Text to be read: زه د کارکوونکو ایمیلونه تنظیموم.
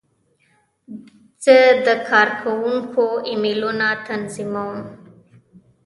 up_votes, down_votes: 1, 2